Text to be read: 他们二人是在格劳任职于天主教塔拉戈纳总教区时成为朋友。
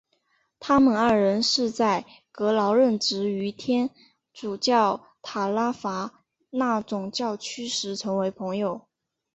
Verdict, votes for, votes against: accepted, 7, 1